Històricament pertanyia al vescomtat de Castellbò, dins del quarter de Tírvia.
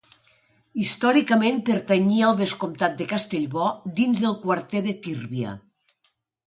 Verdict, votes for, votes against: accepted, 2, 0